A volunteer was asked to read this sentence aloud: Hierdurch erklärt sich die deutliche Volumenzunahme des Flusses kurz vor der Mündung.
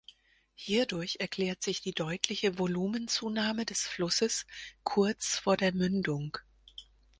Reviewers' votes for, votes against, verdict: 4, 0, accepted